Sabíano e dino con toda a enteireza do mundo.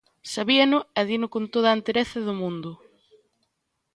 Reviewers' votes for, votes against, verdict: 0, 2, rejected